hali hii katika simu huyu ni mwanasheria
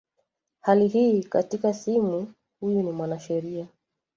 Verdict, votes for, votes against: accepted, 2, 1